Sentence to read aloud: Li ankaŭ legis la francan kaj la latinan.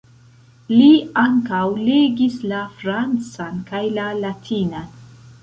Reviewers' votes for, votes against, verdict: 1, 2, rejected